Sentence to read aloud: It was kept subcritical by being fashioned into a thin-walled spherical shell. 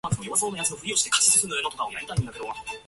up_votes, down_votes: 0, 2